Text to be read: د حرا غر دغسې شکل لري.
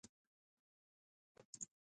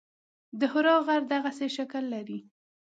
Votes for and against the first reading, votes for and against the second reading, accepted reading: 0, 2, 2, 0, second